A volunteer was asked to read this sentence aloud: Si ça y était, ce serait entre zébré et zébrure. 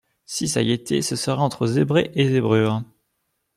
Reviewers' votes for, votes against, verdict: 2, 0, accepted